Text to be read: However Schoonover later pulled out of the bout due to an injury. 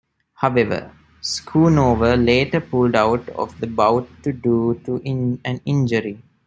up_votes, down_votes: 0, 2